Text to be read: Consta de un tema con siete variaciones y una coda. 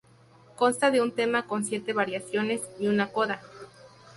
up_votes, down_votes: 2, 0